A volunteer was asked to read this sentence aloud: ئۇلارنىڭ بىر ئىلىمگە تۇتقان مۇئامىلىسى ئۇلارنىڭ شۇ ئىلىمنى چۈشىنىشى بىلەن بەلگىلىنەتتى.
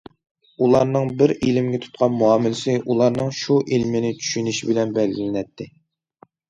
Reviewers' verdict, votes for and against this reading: rejected, 1, 2